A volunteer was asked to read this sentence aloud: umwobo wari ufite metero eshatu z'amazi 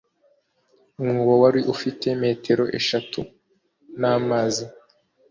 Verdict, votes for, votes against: rejected, 0, 2